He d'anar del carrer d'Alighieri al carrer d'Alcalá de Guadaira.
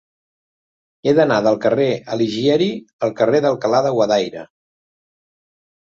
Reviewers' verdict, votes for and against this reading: rejected, 0, 2